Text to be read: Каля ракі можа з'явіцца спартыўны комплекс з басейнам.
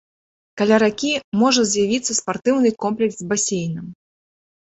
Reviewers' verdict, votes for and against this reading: accepted, 3, 0